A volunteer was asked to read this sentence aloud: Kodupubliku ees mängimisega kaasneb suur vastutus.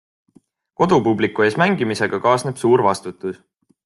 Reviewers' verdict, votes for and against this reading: accepted, 2, 0